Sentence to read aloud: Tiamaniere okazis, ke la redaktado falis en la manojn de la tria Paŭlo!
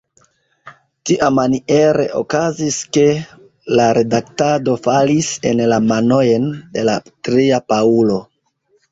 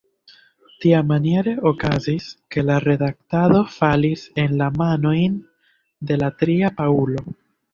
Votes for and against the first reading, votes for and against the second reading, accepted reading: 0, 2, 2, 0, second